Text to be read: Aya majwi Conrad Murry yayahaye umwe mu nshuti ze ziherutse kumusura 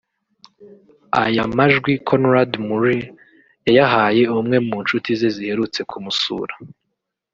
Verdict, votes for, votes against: rejected, 1, 2